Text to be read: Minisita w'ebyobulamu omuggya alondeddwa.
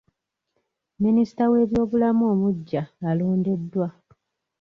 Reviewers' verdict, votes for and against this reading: rejected, 1, 2